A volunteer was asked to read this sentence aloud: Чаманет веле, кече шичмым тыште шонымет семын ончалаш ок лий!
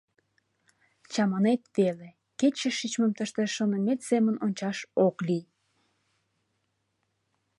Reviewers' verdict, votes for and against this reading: rejected, 0, 2